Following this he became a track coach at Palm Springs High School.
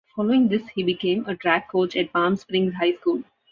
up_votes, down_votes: 2, 0